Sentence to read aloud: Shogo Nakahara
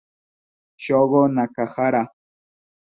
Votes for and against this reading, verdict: 2, 0, accepted